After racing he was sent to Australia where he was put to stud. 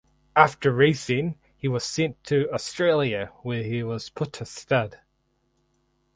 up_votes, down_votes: 4, 0